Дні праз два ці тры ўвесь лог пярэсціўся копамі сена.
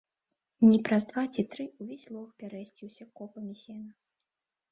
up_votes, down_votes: 0, 2